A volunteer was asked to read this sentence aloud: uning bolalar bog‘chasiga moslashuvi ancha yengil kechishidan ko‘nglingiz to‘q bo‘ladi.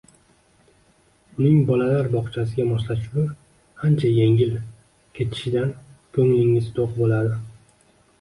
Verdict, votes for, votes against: rejected, 1, 2